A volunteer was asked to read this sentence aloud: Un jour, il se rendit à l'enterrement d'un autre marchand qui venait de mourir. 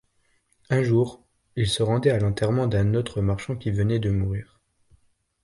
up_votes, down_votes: 2, 0